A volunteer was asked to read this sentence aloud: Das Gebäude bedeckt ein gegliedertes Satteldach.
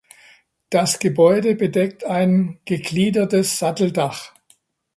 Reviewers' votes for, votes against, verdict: 2, 0, accepted